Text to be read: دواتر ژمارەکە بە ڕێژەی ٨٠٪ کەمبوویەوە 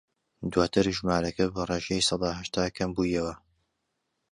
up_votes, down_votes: 0, 2